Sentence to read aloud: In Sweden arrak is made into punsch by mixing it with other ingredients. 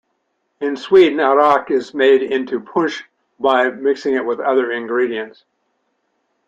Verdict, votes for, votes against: accepted, 2, 1